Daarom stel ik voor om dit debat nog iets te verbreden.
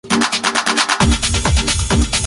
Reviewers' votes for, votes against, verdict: 0, 2, rejected